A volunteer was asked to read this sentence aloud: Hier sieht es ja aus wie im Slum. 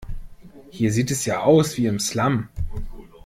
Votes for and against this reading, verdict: 2, 0, accepted